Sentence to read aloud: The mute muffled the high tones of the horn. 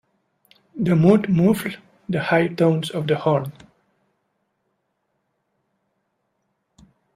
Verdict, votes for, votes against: rejected, 0, 2